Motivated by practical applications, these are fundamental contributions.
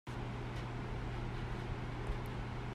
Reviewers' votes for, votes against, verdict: 0, 2, rejected